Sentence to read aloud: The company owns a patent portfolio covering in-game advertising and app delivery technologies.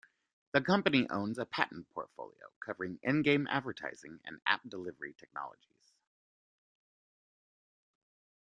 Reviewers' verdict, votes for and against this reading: accepted, 2, 0